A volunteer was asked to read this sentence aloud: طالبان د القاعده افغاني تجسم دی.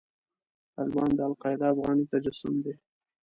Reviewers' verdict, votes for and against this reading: rejected, 0, 2